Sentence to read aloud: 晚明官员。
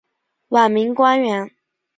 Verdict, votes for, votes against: rejected, 0, 2